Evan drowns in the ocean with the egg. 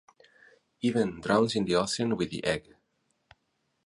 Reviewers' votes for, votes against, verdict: 2, 2, rejected